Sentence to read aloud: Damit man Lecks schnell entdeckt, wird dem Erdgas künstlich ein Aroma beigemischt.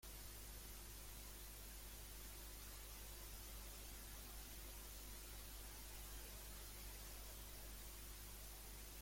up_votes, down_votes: 0, 2